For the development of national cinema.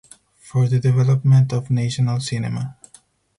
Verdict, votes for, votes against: accepted, 4, 0